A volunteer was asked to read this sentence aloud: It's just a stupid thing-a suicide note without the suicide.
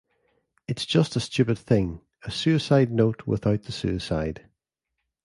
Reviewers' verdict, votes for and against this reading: accepted, 2, 0